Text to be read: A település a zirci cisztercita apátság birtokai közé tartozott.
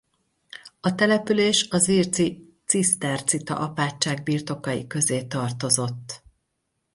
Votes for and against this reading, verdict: 2, 2, rejected